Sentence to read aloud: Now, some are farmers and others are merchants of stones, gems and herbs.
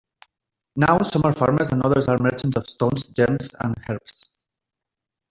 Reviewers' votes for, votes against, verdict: 1, 2, rejected